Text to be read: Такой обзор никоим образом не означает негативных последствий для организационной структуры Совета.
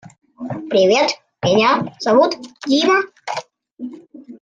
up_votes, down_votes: 0, 2